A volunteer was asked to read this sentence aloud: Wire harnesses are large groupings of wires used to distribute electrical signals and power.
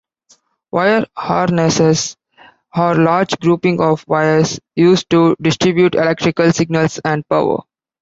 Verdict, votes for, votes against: accepted, 2, 0